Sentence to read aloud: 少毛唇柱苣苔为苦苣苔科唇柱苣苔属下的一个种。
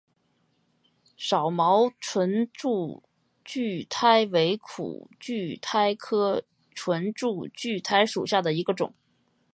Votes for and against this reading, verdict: 5, 0, accepted